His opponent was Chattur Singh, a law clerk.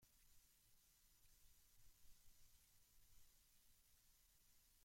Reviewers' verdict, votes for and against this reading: rejected, 0, 2